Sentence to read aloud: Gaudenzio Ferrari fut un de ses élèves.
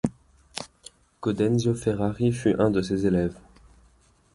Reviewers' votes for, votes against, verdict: 2, 0, accepted